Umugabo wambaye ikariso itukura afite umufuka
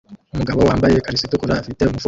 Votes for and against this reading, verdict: 0, 2, rejected